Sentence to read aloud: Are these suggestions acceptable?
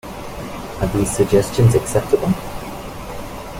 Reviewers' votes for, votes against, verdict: 2, 0, accepted